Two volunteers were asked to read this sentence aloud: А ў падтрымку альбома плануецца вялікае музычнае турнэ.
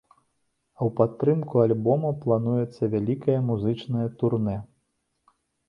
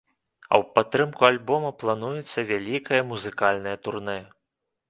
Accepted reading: first